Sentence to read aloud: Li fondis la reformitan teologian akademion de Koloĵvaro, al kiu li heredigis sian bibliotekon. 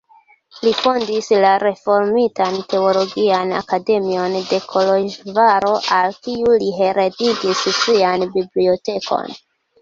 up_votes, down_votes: 0, 2